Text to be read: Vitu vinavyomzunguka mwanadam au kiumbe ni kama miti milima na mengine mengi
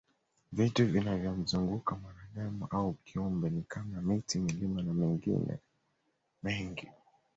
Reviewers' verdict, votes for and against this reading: rejected, 1, 2